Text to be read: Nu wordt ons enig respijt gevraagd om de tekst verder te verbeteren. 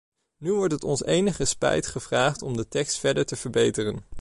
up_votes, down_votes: 0, 2